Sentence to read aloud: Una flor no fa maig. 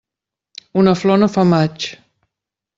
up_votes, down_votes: 2, 0